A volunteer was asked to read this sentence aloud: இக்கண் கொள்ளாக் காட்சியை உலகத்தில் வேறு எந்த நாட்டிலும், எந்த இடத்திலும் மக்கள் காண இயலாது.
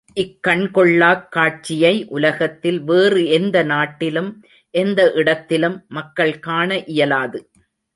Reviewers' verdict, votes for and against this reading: accepted, 2, 0